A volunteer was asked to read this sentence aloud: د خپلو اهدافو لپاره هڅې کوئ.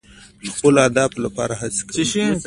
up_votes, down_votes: 2, 0